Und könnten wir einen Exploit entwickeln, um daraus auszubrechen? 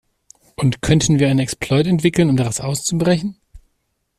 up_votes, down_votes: 2, 1